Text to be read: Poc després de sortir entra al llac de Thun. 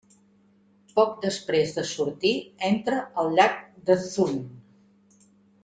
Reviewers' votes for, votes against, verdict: 2, 0, accepted